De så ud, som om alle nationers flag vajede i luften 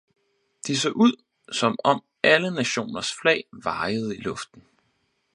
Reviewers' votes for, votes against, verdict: 4, 0, accepted